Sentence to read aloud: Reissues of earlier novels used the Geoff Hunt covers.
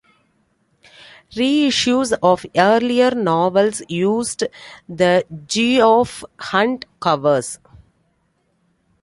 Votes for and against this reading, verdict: 2, 0, accepted